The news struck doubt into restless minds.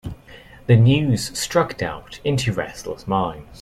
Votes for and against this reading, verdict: 2, 0, accepted